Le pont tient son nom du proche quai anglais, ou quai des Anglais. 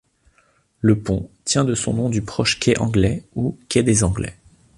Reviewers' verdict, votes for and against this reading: rejected, 1, 2